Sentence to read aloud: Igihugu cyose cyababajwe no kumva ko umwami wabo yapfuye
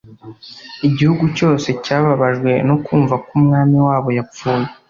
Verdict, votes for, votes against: accepted, 2, 0